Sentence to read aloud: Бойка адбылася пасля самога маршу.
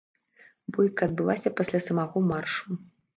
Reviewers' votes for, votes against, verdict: 1, 2, rejected